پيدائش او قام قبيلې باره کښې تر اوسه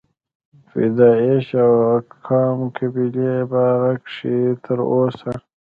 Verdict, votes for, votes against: rejected, 0, 2